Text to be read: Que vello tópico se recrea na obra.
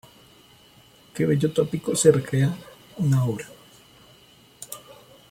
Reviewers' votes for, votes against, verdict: 0, 2, rejected